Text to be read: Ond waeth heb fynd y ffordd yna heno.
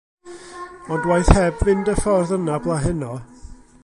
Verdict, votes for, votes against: rejected, 1, 2